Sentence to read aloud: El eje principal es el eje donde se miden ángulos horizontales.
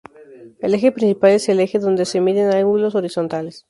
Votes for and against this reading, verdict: 2, 2, rejected